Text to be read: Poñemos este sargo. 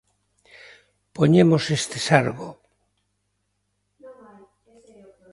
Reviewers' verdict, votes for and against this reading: rejected, 1, 2